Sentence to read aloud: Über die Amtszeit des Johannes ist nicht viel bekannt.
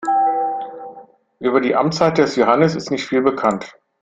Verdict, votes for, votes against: rejected, 1, 2